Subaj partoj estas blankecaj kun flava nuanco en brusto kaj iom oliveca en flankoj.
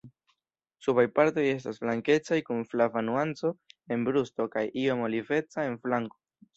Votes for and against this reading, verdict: 1, 2, rejected